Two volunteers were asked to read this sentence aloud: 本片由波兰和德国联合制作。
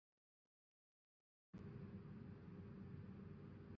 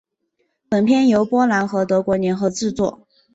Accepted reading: second